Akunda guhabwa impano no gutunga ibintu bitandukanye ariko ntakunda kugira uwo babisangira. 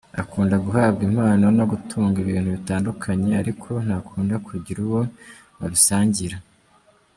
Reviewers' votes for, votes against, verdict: 2, 1, accepted